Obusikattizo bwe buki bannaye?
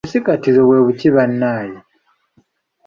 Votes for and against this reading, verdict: 1, 2, rejected